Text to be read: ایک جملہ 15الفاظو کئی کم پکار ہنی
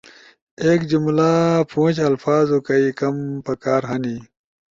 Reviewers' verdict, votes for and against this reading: rejected, 0, 2